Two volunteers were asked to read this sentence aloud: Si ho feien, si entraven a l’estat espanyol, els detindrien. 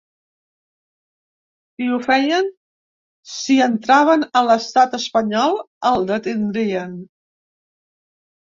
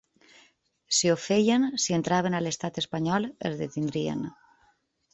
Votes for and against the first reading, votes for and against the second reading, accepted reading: 0, 2, 3, 0, second